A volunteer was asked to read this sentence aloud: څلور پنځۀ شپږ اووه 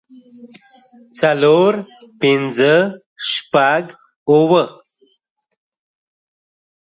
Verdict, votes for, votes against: accepted, 2, 0